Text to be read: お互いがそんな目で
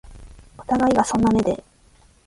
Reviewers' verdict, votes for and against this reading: accepted, 3, 1